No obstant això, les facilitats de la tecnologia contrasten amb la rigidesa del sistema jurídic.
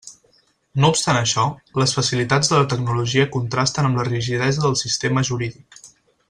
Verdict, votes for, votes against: accepted, 6, 0